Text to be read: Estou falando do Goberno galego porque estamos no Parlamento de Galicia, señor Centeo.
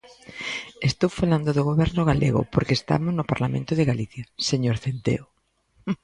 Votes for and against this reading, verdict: 2, 0, accepted